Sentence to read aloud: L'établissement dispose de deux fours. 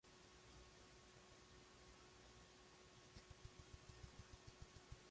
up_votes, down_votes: 0, 2